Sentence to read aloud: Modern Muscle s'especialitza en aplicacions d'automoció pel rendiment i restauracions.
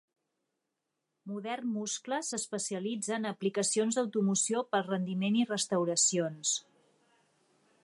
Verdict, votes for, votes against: rejected, 1, 2